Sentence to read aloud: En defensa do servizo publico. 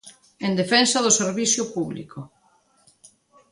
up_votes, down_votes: 2, 1